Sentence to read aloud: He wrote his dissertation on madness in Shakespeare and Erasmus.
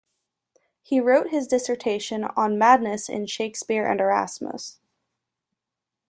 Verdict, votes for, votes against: accepted, 2, 0